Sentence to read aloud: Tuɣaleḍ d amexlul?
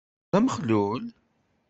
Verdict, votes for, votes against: rejected, 1, 2